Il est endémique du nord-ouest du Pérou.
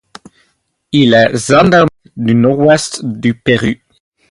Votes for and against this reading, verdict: 0, 4, rejected